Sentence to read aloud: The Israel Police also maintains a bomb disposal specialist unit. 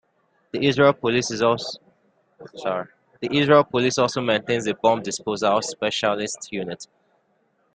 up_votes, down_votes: 1, 2